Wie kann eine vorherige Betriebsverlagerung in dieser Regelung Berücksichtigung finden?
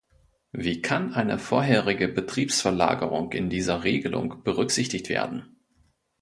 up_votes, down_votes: 0, 2